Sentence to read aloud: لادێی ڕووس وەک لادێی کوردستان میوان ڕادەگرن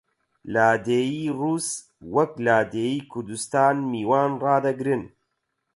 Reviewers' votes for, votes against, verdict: 4, 0, accepted